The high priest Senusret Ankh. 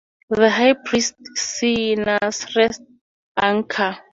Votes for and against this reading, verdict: 0, 2, rejected